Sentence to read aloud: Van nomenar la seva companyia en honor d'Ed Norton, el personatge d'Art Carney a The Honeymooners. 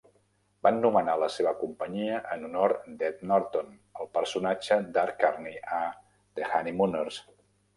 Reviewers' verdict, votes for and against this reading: rejected, 1, 2